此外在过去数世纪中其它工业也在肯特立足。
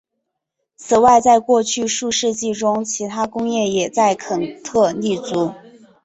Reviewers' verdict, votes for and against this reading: accepted, 2, 0